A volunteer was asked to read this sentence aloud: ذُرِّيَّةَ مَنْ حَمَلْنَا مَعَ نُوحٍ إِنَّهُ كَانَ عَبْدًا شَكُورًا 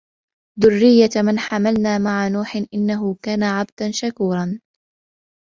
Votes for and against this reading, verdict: 1, 2, rejected